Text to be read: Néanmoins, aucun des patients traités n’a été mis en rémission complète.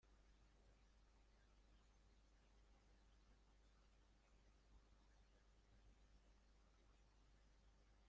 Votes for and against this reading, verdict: 0, 2, rejected